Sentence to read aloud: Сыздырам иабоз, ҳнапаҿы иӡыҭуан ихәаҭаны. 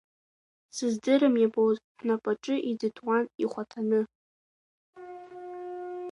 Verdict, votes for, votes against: rejected, 1, 2